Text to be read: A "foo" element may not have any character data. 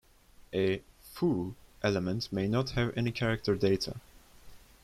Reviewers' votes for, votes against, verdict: 3, 0, accepted